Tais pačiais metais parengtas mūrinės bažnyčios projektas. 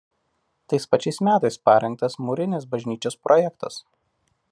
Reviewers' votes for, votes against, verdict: 2, 1, accepted